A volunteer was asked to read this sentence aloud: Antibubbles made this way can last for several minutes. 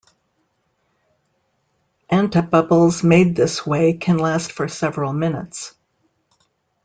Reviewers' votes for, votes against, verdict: 2, 0, accepted